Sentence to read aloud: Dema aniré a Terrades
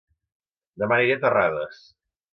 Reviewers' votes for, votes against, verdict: 1, 2, rejected